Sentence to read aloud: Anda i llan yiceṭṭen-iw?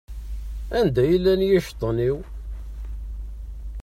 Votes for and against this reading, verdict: 2, 1, accepted